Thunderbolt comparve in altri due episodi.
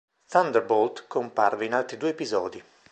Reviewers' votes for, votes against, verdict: 2, 0, accepted